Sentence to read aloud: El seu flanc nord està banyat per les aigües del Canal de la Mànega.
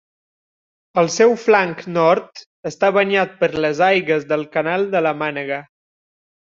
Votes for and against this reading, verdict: 0, 2, rejected